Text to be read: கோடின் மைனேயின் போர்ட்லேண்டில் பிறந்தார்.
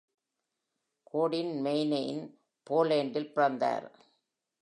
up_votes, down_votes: 1, 2